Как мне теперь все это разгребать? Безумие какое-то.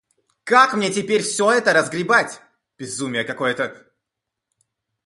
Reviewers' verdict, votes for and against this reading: accepted, 2, 0